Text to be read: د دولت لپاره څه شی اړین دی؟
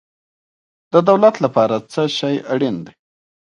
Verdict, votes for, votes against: rejected, 1, 2